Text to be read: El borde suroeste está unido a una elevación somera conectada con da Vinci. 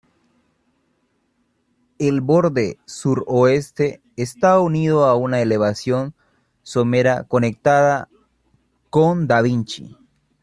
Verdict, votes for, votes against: accepted, 2, 1